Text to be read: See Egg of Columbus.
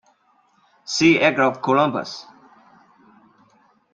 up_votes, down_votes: 2, 0